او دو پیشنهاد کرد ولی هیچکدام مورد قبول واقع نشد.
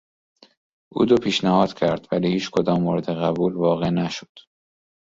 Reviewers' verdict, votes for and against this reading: accepted, 2, 0